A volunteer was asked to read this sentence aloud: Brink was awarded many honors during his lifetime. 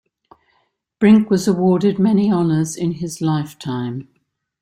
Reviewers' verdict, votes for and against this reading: rejected, 0, 2